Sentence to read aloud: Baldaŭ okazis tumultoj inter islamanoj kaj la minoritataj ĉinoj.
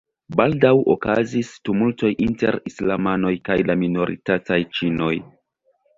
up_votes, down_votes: 1, 2